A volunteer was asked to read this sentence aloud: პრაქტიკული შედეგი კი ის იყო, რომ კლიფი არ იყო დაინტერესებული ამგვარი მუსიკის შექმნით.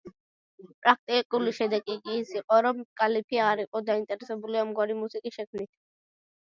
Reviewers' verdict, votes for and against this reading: rejected, 1, 2